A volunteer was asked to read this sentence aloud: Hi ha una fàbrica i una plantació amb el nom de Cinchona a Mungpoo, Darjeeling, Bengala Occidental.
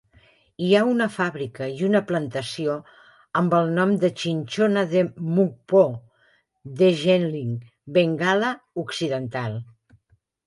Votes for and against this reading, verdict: 0, 2, rejected